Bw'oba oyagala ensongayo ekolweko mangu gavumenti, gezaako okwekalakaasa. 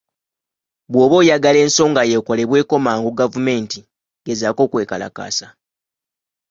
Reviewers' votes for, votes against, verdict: 0, 2, rejected